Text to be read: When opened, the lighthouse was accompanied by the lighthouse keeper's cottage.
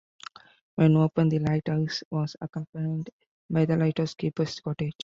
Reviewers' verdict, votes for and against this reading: accepted, 2, 0